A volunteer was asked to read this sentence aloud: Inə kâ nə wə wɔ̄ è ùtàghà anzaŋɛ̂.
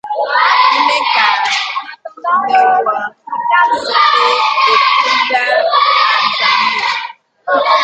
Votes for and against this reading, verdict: 1, 2, rejected